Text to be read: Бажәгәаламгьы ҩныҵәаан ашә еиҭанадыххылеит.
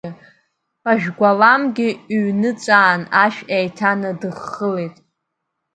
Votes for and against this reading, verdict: 2, 0, accepted